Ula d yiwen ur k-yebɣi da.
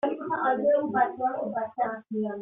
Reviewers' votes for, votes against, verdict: 0, 2, rejected